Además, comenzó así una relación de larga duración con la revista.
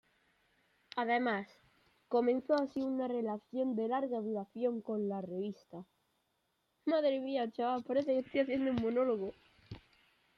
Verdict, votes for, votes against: rejected, 0, 2